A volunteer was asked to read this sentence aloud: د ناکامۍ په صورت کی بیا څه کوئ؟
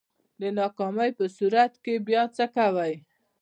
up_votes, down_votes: 1, 2